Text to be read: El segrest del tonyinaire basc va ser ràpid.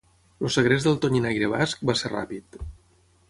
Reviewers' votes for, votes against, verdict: 0, 6, rejected